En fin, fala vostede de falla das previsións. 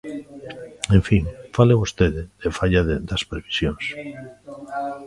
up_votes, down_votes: 0, 2